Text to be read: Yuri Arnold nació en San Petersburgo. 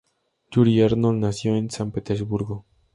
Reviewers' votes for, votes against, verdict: 2, 0, accepted